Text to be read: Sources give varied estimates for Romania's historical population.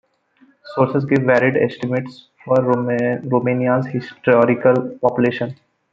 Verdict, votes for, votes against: rejected, 0, 2